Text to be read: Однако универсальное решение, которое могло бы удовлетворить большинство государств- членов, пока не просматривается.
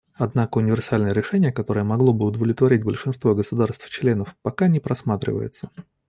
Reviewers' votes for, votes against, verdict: 2, 0, accepted